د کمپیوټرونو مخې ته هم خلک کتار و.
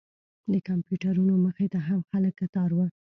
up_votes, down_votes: 0, 2